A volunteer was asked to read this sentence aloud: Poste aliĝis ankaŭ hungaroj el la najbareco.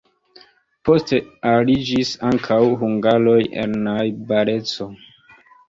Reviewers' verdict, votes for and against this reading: accepted, 2, 0